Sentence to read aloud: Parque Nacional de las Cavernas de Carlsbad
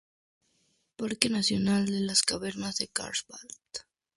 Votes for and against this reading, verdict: 2, 0, accepted